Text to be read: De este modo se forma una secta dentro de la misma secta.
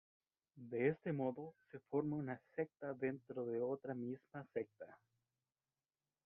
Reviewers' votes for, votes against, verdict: 0, 2, rejected